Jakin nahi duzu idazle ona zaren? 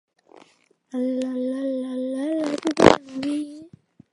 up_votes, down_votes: 0, 2